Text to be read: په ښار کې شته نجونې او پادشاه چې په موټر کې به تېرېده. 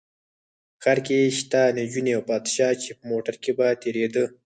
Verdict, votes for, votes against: accepted, 4, 2